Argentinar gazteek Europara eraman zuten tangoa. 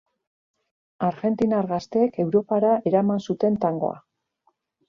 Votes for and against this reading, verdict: 2, 0, accepted